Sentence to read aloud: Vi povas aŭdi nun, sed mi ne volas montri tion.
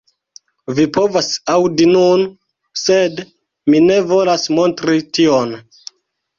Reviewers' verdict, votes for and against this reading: accepted, 2, 1